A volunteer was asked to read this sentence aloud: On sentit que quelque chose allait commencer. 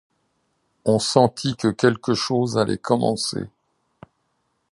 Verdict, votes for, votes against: accepted, 2, 0